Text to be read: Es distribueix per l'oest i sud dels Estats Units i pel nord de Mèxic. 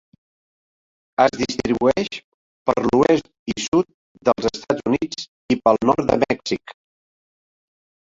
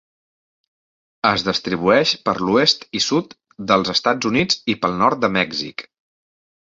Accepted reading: second